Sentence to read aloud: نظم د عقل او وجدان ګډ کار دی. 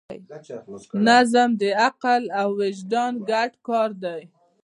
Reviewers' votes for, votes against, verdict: 2, 1, accepted